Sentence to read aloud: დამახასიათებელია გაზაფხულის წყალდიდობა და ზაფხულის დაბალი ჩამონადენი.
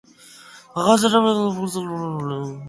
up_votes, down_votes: 0, 2